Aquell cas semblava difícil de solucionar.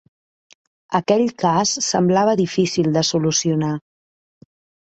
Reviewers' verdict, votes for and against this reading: accepted, 5, 0